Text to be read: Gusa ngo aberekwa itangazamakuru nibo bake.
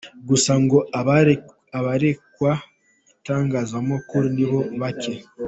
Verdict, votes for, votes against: rejected, 1, 3